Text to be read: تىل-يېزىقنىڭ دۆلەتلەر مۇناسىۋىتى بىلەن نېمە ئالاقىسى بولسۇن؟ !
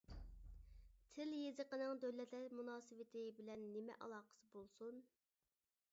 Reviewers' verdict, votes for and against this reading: rejected, 1, 2